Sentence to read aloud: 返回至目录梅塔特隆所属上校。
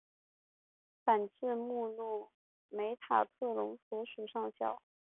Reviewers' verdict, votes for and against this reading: rejected, 0, 2